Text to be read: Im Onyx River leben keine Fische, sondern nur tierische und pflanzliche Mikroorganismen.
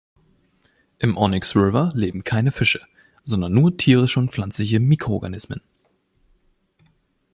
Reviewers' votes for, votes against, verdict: 2, 0, accepted